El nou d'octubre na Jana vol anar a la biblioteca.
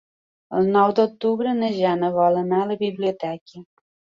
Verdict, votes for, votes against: accepted, 5, 1